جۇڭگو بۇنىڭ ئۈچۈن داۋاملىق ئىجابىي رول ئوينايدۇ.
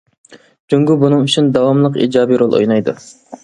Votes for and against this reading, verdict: 2, 0, accepted